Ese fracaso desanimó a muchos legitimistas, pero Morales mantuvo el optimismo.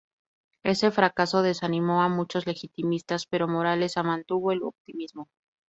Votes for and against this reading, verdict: 0, 4, rejected